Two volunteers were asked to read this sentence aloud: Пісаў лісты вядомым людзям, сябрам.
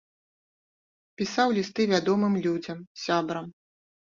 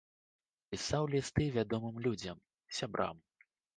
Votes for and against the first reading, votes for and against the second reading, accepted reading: 0, 2, 2, 0, second